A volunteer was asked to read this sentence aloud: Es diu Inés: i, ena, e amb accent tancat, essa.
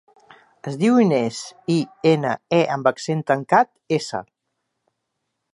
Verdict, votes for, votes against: accepted, 4, 0